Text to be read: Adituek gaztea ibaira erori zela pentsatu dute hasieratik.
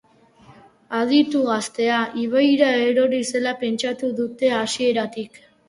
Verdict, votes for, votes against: rejected, 0, 2